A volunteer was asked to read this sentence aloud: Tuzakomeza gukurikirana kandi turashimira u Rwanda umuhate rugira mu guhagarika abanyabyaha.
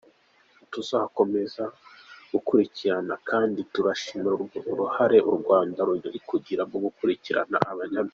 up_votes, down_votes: 0, 2